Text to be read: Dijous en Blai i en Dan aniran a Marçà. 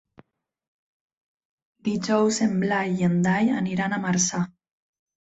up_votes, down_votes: 0, 4